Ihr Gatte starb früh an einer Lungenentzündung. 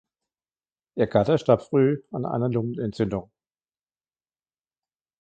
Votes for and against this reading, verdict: 3, 0, accepted